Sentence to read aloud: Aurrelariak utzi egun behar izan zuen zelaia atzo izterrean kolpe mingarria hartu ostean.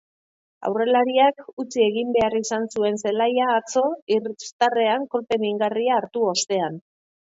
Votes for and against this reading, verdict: 2, 0, accepted